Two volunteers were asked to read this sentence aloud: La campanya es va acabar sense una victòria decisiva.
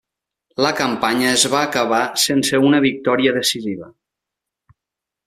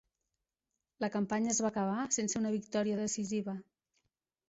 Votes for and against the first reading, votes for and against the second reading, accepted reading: 1, 2, 3, 0, second